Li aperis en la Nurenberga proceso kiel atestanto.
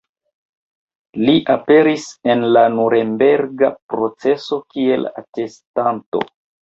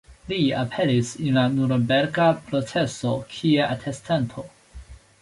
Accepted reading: first